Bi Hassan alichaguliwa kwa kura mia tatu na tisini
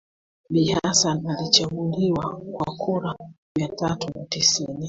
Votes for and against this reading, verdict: 2, 1, accepted